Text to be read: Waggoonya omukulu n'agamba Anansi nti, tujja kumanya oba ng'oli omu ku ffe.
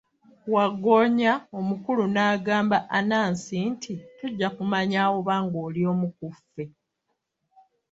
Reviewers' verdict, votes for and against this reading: accepted, 2, 1